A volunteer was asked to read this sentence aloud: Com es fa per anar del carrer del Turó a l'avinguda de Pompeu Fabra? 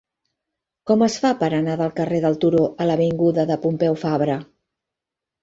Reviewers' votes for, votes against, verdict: 3, 1, accepted